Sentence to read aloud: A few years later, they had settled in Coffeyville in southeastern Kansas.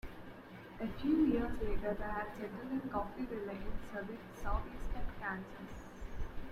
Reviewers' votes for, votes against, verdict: 0, 2, rejected